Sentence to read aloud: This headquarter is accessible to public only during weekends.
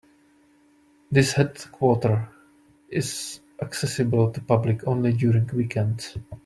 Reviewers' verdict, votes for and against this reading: accepted, 2, 0